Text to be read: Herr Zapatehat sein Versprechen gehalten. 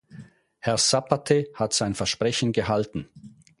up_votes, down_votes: 0, 4